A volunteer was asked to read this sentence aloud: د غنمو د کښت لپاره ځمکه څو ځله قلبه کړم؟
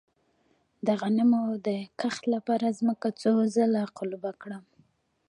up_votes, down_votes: 0, 2